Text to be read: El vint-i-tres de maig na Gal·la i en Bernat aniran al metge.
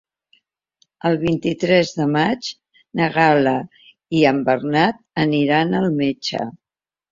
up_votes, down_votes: 3, 0